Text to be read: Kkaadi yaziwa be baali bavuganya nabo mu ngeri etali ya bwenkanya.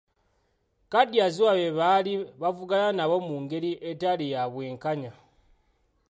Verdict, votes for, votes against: rejected, 1, 2